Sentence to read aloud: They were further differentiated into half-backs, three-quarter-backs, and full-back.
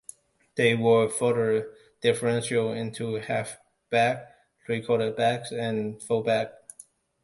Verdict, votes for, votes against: rejected, 0, 2